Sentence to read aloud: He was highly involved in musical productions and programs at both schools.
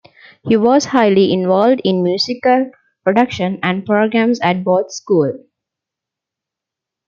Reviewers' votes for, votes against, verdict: 0, 2, rejected